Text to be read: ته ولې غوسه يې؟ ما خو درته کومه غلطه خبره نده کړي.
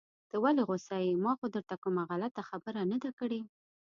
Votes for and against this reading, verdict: 2, 0, accepted